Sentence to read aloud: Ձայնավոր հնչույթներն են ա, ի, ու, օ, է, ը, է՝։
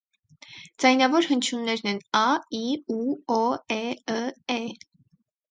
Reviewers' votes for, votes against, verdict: 4, 0, accepted